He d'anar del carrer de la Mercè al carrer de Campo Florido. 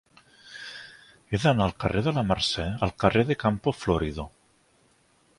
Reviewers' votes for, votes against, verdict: 1, 3, rejected